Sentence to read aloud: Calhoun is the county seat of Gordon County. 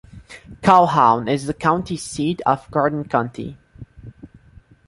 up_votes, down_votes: 0, 2